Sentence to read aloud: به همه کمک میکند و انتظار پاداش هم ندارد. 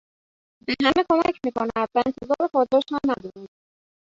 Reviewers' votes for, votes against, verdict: 0, 2, rejected